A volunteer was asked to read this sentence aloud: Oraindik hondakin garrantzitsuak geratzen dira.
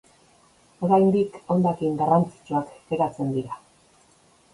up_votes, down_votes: 1, 2